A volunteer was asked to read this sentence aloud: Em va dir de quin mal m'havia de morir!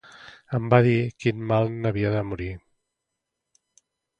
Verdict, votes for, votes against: rejected, 0, 2